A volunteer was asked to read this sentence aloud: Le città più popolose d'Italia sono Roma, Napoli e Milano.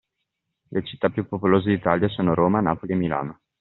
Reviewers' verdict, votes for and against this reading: accepted, 2, 0